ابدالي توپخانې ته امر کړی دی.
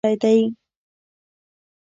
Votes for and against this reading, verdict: 0, 2, rejected